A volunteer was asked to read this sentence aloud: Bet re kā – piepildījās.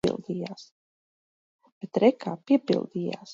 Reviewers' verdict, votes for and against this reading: rejected, 0, 2